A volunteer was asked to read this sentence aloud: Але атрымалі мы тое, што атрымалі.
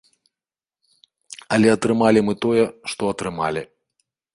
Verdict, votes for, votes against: accepted, 2, 0